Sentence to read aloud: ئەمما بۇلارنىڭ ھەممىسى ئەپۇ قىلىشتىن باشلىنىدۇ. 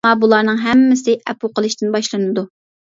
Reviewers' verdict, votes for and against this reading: rejected, 0, 2